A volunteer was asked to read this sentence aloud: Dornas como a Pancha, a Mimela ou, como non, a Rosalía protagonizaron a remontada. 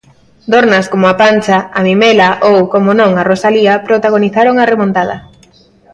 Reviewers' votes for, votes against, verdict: 2, 0, accepted